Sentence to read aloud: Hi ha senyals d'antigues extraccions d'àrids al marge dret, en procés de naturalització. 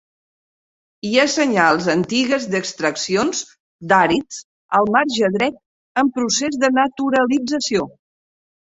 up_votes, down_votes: 0, 2